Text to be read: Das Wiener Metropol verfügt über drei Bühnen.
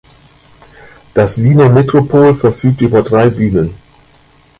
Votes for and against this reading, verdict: 2, 0, accepted